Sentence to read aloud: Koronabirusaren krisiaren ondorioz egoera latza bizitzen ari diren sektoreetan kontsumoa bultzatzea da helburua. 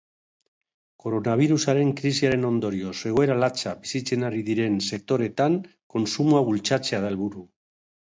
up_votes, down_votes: 0, 2